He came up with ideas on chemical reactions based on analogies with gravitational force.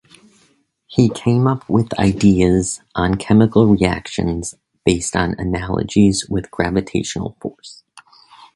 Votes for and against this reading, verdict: 2, 0, accepted